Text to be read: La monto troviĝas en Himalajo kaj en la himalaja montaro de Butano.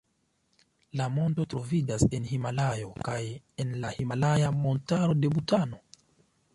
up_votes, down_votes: 2, 0